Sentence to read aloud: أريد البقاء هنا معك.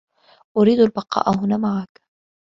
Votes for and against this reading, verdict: 2, 0, accepted